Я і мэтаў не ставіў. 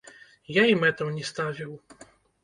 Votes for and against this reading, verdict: 1, 2, rejected